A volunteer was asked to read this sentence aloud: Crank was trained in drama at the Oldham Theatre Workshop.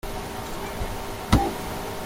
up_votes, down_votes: 0, 2